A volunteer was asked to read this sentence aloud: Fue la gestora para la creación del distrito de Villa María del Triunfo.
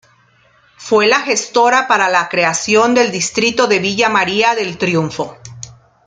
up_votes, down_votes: 2, 0